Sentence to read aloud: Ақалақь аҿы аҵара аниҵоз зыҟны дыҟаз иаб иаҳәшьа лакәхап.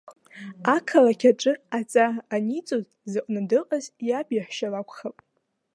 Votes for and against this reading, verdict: 0, 2, rejected